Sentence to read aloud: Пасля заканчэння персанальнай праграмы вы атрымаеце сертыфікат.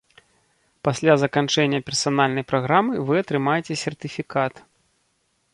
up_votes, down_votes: 2, 0